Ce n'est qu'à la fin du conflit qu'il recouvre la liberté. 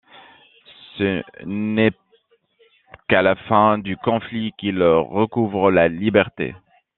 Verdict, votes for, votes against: rejected, 0, 2